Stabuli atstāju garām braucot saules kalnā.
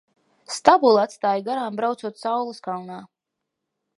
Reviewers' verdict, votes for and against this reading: rejected, 1, 2